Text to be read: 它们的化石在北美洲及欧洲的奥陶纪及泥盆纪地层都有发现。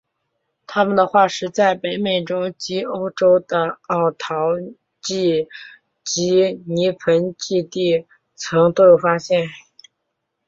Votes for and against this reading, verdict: 1, 2, rejected